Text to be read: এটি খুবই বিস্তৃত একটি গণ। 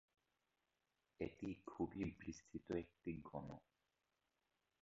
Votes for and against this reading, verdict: 2, 2, rejected